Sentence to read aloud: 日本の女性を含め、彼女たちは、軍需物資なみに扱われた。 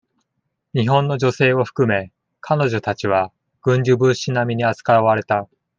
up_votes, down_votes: 2, 0